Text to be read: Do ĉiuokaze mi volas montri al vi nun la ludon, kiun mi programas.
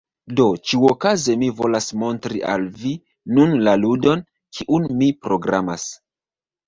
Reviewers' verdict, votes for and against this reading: rejected, 0, 2